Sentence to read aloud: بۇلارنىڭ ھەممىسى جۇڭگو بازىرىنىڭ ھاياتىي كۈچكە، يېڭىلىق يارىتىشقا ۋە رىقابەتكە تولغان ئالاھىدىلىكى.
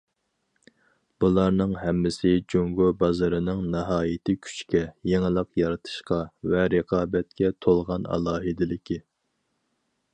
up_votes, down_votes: 0, 4